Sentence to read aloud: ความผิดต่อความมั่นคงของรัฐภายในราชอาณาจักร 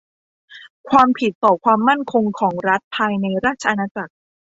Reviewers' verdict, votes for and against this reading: accepted, 2, 0